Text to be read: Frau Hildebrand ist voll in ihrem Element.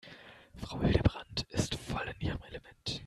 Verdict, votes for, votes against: rejected, 1, 2